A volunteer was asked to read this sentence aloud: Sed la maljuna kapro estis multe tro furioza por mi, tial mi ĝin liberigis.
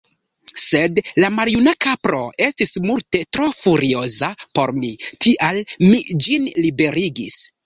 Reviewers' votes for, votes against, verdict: 2, 0, accepted